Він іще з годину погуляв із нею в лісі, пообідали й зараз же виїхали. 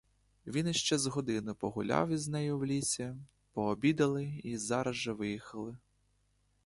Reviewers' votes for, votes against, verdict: 2, 0, accepted